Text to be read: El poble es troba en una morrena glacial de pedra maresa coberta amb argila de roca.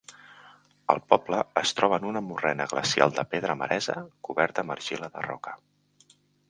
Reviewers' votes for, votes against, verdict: 3, 0, accepted